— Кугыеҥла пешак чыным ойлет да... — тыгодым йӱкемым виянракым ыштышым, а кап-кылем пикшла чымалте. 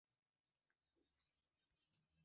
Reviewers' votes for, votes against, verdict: 1, 2, rejected